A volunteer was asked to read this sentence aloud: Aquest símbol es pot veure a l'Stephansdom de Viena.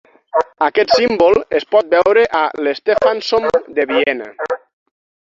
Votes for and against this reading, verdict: 0, 6, rejected